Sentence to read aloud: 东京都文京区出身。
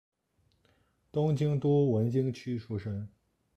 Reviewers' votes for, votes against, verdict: 1, 2, rejected